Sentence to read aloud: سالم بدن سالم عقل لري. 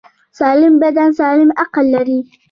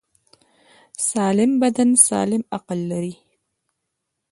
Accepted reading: second